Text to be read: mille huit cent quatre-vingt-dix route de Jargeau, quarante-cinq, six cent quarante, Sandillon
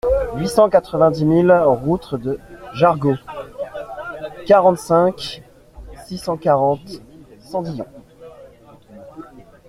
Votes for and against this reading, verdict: 0, 2, rejected